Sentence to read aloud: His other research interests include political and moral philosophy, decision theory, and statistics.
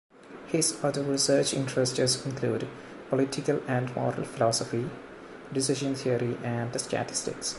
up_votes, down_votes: 0, 2